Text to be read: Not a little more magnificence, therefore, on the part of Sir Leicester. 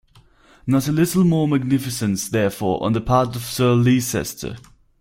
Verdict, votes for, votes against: rejected, 0, 4